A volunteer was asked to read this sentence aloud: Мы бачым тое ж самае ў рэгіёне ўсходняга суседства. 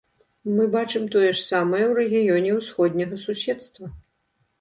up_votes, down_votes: 2, 0